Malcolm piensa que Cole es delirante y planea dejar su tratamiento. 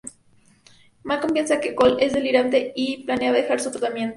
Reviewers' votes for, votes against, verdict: 2, 0, accepted